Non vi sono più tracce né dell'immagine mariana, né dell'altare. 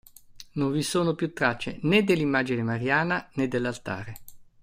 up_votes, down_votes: 2, 0